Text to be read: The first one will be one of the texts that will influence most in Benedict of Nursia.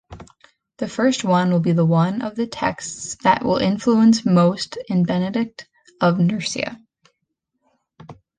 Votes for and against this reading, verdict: 1, 2, rejected